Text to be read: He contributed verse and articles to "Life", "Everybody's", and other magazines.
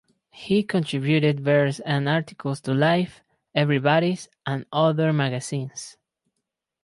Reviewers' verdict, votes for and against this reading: accepted, 2, 0